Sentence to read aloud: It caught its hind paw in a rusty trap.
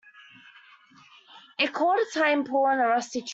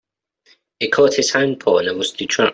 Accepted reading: second